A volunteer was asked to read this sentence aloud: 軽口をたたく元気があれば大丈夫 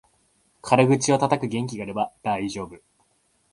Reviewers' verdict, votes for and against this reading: accepted, 2, 0